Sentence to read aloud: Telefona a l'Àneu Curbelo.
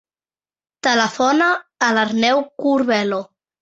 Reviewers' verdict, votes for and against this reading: rejected, 0, 2